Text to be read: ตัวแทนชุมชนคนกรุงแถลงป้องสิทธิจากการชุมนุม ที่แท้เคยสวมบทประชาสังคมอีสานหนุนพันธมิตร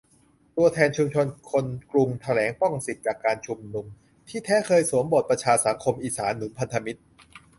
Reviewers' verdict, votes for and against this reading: rejected, 0, 2